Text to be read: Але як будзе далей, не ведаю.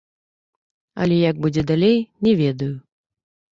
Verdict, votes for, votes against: rejected, 0, 2